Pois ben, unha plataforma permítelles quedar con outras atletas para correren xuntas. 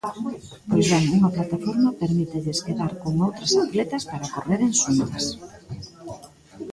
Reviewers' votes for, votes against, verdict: 1, 2, rejected